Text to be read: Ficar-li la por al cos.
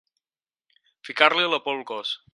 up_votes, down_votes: 6, 0